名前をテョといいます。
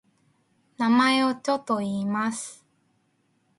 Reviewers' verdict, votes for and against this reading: rejected, 1, 2